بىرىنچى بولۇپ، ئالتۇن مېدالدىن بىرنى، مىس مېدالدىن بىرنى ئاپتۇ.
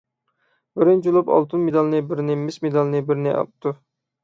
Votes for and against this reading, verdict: 0, 6, rejected